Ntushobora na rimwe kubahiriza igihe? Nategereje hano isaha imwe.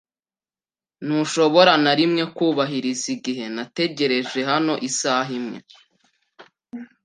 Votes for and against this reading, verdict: 2, 0, accepted